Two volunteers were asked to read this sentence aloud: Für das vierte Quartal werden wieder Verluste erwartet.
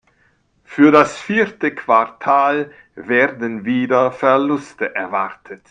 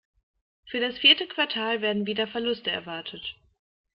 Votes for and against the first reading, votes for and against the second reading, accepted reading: 1, 2, 2, 0, second